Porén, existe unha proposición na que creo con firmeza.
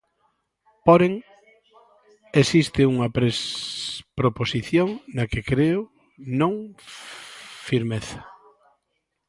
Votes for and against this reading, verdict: 0, 2, rejected